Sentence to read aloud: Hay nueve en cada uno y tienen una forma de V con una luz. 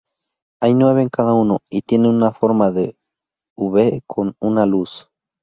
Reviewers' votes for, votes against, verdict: 2, 2, rejected